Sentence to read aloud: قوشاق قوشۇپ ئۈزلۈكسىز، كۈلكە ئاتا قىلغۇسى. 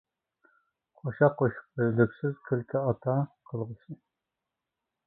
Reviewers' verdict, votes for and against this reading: rejected, 0, 2